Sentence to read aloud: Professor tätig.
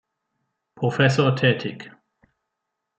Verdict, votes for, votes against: accepted, 2, 0